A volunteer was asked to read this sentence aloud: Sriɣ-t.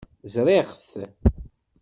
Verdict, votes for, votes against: rejected, 1, 2